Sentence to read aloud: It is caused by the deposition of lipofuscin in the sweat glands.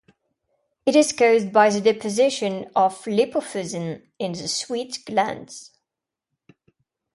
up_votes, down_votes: 0, 2